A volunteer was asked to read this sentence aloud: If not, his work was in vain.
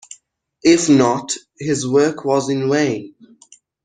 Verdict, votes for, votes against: accepted, 2, 0